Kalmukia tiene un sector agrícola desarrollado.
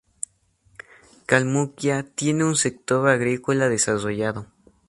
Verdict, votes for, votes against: accepted, 4, 0